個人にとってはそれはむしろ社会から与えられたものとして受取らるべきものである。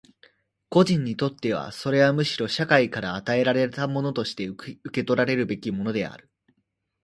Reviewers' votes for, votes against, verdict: 2, 1, accepted